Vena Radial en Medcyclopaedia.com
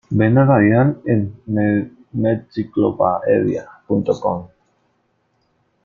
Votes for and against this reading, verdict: 0, 2, rejected